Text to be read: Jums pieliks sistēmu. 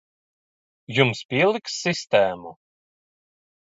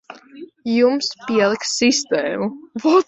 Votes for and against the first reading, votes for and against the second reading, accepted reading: 2, 0, 1, 2, first